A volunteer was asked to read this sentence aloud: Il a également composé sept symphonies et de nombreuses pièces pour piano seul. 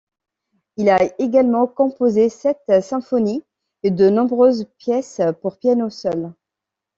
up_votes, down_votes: 2, 0